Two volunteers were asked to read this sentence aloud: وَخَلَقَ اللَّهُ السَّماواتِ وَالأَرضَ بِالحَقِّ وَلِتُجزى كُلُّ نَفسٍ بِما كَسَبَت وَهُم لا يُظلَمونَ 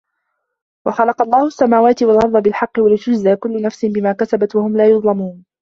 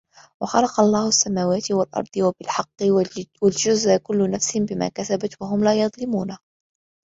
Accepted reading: first